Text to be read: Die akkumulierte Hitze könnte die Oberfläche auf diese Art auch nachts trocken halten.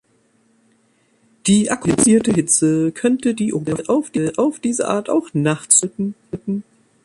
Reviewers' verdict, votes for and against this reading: rejected, 0, 2